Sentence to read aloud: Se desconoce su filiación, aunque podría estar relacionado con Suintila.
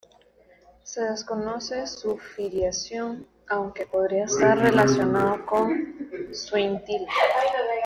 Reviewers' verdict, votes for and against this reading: rejected, 0, 2